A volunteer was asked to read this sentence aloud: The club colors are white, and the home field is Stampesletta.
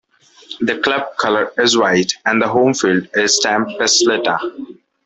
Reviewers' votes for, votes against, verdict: 1, 2, rejected